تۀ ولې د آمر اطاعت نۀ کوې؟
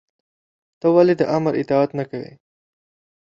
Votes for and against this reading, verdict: 0, 2, rejected